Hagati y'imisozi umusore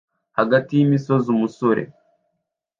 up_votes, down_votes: 2, 1